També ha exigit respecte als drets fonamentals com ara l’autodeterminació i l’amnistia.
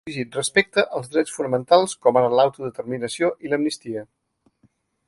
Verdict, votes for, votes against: rejected, 0, 2